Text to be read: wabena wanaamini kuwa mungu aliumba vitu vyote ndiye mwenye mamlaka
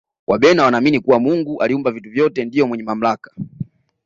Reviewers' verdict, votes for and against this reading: accepted, 2, 0